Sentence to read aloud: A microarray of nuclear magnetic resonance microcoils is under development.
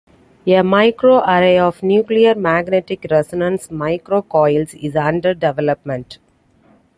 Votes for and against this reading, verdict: 2, 0, accepted